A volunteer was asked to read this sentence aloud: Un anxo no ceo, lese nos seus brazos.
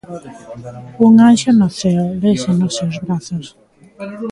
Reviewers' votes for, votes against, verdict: 2, 0, accepted